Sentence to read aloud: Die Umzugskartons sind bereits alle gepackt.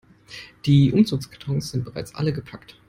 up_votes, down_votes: 2, 0